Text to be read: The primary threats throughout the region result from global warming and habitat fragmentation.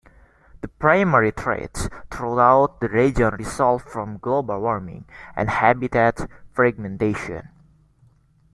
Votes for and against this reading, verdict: 2, 0, accepted